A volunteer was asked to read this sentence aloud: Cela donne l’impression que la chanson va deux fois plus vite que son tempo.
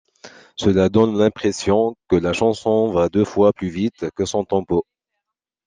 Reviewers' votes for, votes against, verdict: 2, 0, accepted